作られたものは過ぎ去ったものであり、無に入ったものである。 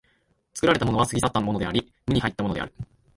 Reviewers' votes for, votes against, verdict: 1, 3, rejected